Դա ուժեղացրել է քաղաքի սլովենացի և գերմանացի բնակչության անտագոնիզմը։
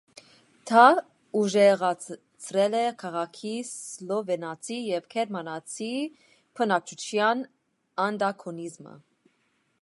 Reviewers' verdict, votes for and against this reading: rejected, 1, 2